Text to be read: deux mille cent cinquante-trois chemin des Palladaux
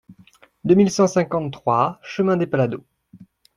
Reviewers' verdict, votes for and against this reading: accepted, 2, 0